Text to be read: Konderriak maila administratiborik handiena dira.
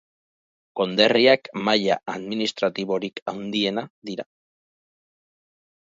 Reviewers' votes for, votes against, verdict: 2, 2, rejected